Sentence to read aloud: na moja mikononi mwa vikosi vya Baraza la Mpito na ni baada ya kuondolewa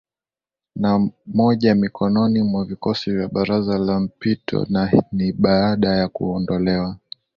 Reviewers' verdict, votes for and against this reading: accepted, 2, 0